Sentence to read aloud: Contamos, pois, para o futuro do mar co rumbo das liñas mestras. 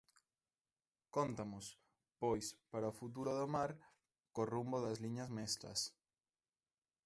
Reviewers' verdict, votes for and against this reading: rejected, 0, 2